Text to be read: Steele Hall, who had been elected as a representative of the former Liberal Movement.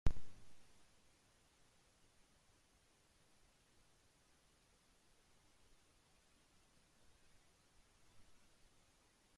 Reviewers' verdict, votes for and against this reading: rejected, 0, 2